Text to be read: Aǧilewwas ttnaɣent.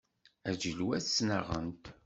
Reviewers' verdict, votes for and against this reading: accepted, 2, 0